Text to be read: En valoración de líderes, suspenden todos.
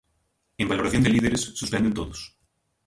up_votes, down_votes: 0, 2